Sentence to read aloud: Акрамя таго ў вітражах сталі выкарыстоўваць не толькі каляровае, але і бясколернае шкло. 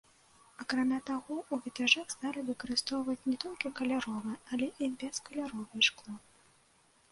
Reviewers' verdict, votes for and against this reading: rejected, 0, 2